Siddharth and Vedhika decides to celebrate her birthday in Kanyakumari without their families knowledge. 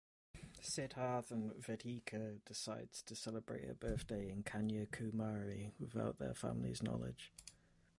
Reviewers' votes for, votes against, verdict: 0, 2, rejected